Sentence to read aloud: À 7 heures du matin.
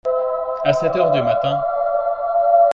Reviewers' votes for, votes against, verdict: 0, 2, rejected